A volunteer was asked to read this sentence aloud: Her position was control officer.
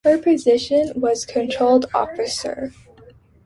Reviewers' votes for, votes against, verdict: 1, 2, rejected